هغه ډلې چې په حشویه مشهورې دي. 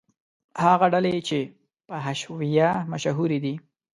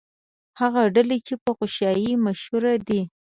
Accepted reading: first